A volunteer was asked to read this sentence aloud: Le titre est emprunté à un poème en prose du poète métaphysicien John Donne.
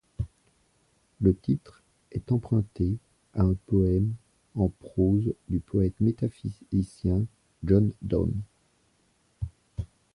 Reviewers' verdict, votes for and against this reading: rejected, 1, 2